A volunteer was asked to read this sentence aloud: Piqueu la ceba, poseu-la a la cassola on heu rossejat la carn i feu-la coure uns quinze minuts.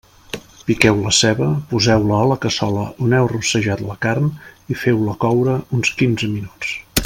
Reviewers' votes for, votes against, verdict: 2, 0, accepted